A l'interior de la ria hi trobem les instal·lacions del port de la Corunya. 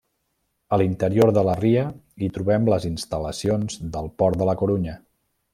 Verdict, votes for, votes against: accepted, 3, 0